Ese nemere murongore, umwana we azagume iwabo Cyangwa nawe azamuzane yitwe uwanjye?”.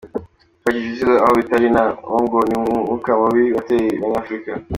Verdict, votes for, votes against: rejected, 0, 3